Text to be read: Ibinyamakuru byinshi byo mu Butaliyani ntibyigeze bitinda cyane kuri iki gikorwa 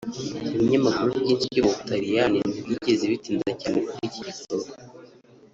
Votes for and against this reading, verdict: 1, 2, rejected